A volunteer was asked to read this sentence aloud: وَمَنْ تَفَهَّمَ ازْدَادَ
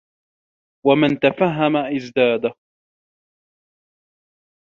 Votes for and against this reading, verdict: 2, 0, accepted